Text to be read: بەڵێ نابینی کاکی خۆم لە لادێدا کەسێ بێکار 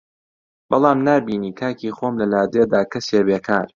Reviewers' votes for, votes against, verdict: 1, 2, rejected